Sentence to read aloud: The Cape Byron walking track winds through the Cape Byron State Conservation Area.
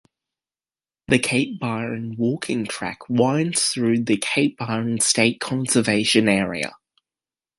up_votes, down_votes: 2, 1